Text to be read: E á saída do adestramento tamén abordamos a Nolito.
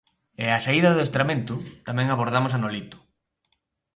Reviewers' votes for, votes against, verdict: 2, 0, accepted